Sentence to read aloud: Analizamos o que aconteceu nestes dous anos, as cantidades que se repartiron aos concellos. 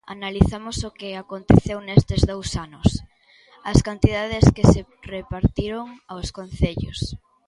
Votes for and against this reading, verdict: 2, 1, accepted